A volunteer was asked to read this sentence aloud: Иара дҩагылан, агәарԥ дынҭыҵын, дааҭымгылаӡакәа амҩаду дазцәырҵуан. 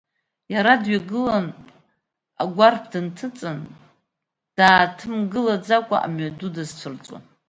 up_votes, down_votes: 2, 0